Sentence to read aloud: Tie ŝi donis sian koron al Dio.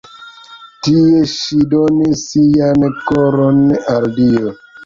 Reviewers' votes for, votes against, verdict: 1, 2, rejected